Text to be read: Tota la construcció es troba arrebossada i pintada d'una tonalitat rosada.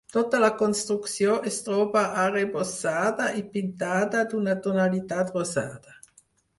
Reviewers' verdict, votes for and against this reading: accepted, 4, 0